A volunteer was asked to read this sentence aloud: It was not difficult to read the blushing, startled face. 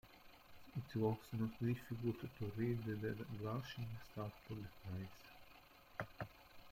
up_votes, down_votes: 0, 2